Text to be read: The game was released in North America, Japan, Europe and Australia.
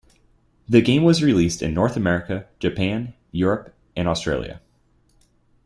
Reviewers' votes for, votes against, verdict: 2, 0, accepted